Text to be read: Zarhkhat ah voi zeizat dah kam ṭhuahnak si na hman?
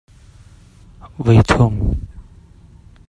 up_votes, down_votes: 0, 2